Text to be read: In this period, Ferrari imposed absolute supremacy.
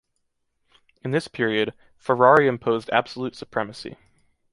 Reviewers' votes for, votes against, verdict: 2, 0, accepted